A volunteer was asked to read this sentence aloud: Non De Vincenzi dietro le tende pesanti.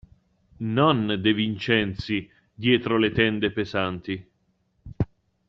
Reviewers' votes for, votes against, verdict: 2, 0, accepted